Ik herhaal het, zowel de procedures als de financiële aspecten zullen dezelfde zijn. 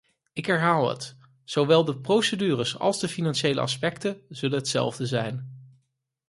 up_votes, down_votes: 2, 4